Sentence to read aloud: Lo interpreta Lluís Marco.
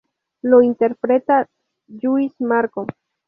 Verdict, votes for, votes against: accepted, 2, 0